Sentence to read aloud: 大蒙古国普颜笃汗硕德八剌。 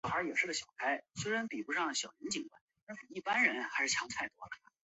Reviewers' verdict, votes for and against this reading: rejected, 0, 4